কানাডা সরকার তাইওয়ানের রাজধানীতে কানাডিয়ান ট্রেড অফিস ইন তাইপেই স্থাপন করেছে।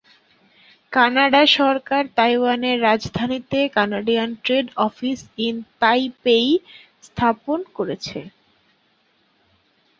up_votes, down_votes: 10, 1